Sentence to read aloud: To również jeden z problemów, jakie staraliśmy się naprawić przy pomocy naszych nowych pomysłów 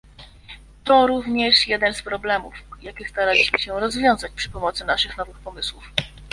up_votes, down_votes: 0, 2